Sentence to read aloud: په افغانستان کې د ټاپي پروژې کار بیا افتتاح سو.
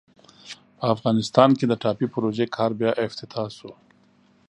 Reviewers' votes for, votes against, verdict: 2, 0, accepted